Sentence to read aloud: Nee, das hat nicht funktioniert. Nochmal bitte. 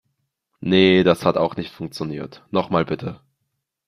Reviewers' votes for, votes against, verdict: 0, 2, rejected